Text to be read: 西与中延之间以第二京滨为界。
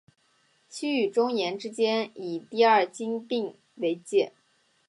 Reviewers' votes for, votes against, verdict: 3, 1, accepted